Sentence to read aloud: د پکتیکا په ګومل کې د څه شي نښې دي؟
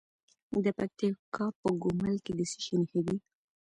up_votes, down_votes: 1, 2